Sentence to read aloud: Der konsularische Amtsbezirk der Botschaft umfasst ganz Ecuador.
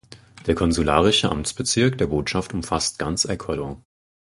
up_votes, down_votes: 4, 0